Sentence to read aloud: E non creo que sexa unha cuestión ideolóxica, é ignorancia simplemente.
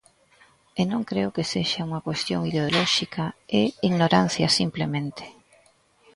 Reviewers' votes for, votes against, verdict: 2, 1, accepted